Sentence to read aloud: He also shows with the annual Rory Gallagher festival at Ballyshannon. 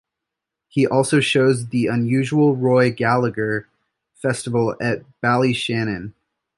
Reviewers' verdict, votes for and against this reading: rejected, 1, 2